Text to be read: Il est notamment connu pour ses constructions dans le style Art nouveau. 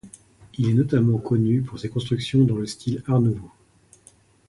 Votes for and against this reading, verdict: 2, 0, accepted